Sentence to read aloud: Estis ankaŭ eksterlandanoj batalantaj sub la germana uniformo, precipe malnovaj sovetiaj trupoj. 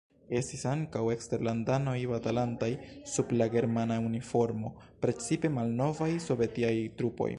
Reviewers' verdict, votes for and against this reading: accepted, 2, 1